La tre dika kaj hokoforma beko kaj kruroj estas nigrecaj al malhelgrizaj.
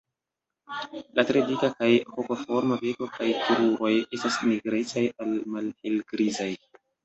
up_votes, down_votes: 2, 1